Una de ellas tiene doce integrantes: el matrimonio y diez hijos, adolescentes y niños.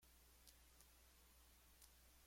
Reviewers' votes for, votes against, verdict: 0, 2, rejected